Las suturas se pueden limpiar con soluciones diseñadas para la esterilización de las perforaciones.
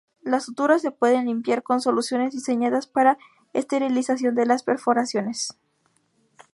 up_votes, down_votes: 0, 2